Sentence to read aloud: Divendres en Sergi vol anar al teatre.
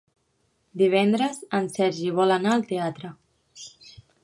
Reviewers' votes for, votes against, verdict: 5, 1, accepted